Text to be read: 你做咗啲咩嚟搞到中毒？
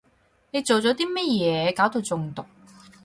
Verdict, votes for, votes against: rejected, 0, 4